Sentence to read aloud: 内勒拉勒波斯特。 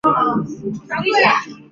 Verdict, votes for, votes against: rejected, 1, 2